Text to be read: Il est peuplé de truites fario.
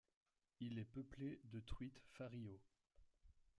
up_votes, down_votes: 0, 2